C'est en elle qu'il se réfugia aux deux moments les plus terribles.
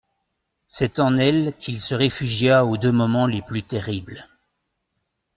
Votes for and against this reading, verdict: 2, 0, accepted